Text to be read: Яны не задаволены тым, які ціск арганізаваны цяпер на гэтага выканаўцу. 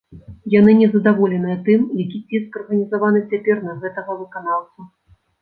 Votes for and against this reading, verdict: 1, 2, rejected